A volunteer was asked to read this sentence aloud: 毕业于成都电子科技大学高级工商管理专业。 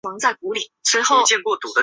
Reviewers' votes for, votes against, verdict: 0, 5, rejected